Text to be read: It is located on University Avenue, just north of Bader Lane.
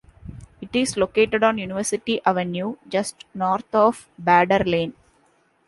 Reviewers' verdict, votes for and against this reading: accepted, 2, 0